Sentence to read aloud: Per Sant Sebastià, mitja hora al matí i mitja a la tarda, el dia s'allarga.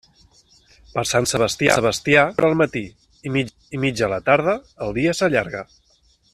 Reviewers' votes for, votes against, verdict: 0, 2, rejected